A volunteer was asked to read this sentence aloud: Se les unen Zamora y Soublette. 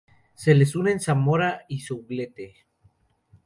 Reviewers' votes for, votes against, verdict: 2, 0, accepted